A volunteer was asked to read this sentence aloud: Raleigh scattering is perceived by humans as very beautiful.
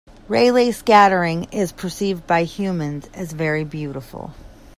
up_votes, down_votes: 2, 0